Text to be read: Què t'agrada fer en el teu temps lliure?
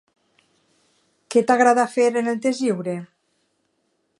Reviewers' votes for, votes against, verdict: 0, 2, rejected